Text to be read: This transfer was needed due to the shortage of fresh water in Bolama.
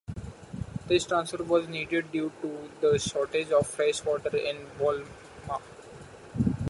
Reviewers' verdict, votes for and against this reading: rejected, 1, 2